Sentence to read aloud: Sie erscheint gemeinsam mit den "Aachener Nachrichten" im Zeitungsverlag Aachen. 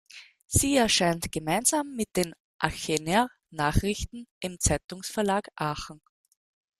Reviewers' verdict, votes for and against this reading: rejected, 0, 2